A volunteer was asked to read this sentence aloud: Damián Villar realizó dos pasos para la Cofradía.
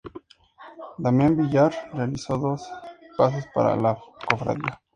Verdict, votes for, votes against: accepted, 2, 0